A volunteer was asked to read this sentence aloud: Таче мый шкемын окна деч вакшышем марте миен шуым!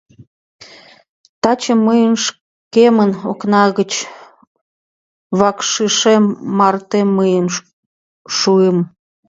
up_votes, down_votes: 0, 2